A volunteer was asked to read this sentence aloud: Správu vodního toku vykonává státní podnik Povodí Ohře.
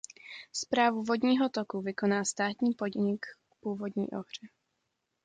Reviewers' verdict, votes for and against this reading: rejected, 0, 2